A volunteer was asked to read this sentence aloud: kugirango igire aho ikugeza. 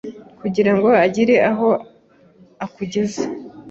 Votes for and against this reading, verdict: 1, 2, rejected